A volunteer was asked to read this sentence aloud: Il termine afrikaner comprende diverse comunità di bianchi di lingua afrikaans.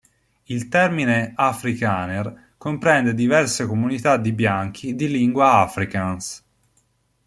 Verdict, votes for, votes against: accepted, 2, 0